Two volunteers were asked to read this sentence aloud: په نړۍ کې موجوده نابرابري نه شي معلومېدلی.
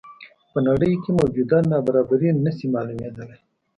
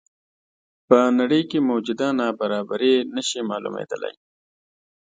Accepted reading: second